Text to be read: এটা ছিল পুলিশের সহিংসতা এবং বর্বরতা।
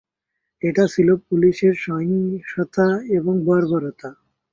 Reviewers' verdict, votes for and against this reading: accepted, 2, 0